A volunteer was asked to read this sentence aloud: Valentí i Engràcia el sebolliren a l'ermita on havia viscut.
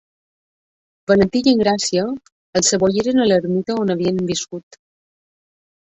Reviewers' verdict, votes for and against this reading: accepted, 2, 0